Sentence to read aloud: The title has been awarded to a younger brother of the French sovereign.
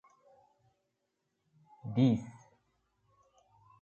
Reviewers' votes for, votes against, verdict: 0, 2, rejected